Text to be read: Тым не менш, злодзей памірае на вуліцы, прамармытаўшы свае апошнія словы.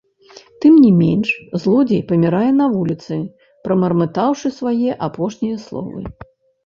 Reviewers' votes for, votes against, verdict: 0, 2, rejected